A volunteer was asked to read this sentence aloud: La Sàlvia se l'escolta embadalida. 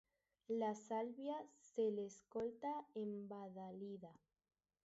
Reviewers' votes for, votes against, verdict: 0, 2, rejected